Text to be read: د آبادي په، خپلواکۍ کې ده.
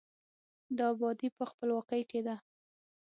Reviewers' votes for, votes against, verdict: 6, 0, accepted